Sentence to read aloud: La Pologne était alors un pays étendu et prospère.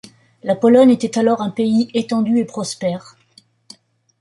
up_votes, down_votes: 2, 0